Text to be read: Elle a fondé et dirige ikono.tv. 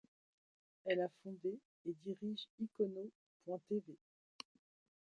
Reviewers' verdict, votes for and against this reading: rejected, 1, 2